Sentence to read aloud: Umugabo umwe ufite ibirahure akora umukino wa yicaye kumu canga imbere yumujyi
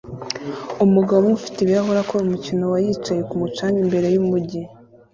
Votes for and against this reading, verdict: 2, 0, accepted